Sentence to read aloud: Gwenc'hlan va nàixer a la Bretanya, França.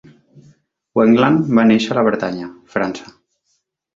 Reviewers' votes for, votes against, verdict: 1, 2, rejected